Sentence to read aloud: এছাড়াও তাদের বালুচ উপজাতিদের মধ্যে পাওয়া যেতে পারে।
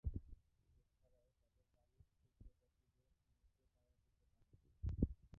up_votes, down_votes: 0, 5